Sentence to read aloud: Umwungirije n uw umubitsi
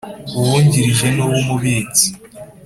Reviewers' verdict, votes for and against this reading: accepted, 3, 0